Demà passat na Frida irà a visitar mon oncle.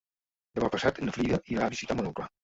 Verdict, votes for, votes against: rejected, 1, 2